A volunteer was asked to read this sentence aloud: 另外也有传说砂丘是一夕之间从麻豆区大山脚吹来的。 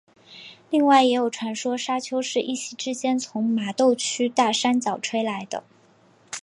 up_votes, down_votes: 2, 0